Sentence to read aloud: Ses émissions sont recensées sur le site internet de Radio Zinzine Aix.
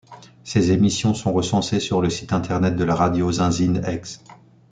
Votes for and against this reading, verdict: 1, 2, rejected